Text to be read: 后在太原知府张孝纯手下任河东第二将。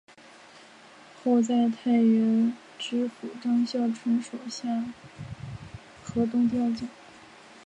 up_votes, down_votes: 1, 2